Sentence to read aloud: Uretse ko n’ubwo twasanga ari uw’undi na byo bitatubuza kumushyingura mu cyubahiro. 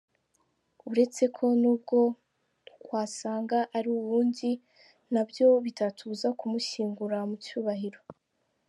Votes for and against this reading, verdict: 2, 1, accepted